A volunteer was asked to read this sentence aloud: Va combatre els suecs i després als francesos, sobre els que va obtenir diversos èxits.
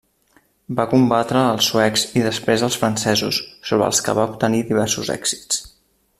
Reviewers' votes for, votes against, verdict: 2, 0, accepted